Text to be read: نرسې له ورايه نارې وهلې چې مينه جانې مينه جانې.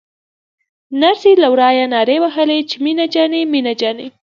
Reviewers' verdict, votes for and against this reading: rejected, 0, 2